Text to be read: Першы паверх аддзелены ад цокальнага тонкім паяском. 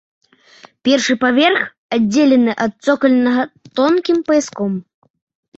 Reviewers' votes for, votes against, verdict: 2, 0, accepted